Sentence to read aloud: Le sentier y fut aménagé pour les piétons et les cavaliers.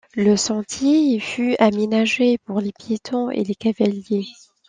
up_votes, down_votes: 2, 0